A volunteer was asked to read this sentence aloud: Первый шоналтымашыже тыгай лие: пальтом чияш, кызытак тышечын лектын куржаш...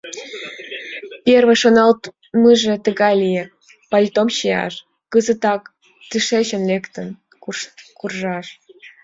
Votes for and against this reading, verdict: 0, 2, rejected